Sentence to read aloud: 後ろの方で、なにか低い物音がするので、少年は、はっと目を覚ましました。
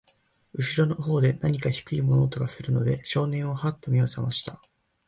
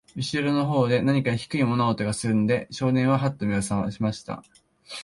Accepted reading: second